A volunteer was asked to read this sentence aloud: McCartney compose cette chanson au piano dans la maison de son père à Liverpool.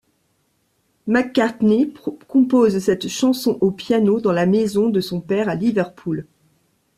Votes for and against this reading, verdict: 1, 2, rejected